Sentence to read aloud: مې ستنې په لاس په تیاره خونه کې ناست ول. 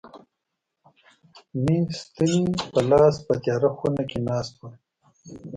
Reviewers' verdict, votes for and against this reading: rejected, 1, 2